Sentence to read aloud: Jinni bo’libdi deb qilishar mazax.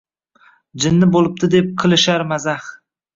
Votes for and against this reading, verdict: 2, 0, accepted